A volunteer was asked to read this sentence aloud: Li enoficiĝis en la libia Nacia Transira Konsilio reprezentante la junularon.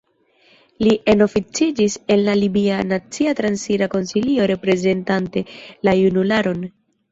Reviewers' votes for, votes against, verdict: 2, 0, accepted